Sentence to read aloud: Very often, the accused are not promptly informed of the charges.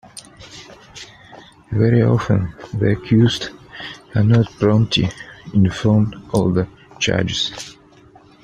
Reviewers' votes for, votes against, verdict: 2, 1, accepted